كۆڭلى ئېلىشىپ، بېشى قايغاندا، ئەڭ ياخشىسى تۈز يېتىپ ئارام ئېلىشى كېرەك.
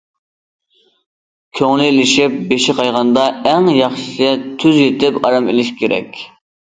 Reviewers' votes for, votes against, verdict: 2, 0, accepted